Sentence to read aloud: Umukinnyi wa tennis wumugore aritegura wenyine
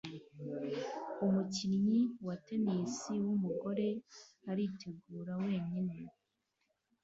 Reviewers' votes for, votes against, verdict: 2, 0, accepted